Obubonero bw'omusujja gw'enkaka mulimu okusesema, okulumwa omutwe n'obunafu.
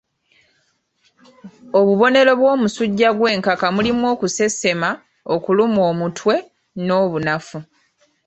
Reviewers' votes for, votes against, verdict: 2, 0, accepted